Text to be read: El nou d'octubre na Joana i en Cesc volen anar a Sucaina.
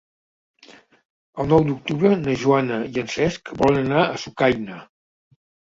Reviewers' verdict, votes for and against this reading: accepted, 3, 1